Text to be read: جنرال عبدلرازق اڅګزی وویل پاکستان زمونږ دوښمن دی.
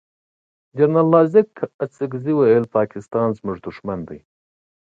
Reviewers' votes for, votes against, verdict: 2, 0, accepted